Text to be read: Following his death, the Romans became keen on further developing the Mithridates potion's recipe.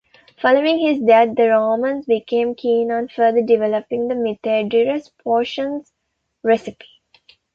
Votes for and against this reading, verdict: 0, 2, rejected